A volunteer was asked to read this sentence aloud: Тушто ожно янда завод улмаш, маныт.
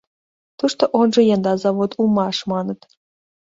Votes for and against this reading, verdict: 2, 1, accepted